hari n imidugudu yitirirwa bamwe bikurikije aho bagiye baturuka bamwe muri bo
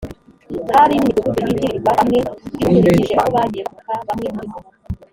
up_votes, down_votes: 1, 2